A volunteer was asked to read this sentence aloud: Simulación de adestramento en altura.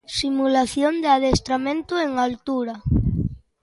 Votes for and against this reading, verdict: 2, 0, accepted